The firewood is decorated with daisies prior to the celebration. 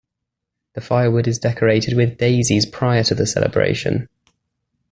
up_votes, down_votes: 2, 0